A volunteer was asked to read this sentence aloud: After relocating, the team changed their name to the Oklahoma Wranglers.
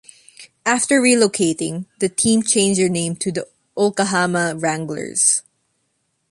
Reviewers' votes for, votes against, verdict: 1, 2, rejected